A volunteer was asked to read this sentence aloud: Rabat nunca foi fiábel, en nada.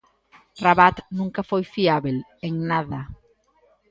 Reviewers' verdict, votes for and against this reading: accepted, 2, 0